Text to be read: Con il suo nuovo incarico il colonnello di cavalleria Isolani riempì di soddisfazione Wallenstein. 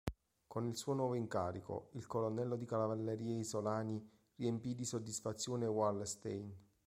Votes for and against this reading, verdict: 0, 2, rejected